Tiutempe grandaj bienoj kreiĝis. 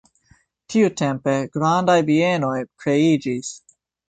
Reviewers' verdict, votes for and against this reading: accepted, 2, 1